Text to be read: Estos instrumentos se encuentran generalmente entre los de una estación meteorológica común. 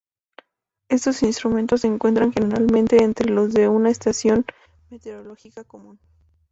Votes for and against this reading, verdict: 0, 2, rejected